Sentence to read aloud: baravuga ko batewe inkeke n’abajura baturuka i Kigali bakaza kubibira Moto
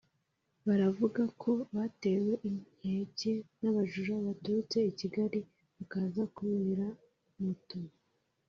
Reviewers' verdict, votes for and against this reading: rejected, 1, 2